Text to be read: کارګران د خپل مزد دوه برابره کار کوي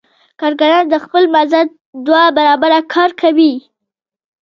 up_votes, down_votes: 1, 2